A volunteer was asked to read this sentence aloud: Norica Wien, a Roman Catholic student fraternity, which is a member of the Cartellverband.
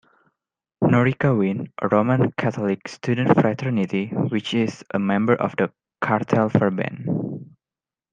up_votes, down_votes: 2, 0